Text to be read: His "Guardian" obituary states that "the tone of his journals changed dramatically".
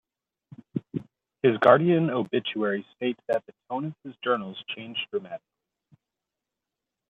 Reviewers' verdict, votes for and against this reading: rejected, 0, 2